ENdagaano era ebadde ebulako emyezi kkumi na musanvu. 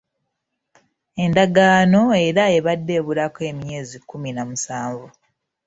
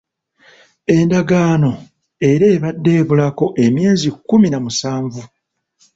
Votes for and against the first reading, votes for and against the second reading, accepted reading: 1, 2, 2, 0, second